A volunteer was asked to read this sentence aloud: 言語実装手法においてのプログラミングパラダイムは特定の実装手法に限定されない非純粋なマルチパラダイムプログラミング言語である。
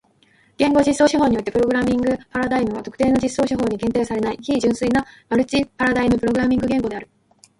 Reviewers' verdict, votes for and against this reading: accepted, 2, 1